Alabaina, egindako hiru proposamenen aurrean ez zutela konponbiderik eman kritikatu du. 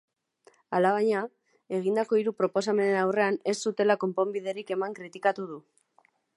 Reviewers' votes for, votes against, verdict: 3, 0, accepted